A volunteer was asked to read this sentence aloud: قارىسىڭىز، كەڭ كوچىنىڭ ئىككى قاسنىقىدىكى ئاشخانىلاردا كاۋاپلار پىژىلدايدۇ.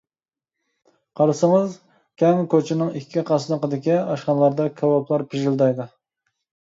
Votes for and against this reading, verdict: 2, 0, accepted